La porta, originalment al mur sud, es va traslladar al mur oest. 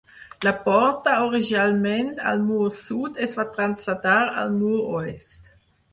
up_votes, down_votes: 0, 4